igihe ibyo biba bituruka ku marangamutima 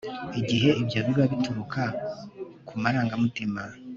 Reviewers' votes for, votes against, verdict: 2, 0, accepted